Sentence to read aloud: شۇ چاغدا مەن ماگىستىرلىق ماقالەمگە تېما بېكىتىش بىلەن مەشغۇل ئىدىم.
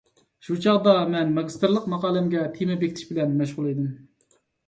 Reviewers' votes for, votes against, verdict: 2, 0, accepted